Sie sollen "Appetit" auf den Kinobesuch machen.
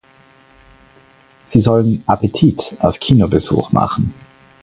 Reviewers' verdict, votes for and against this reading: rejected, 0, 4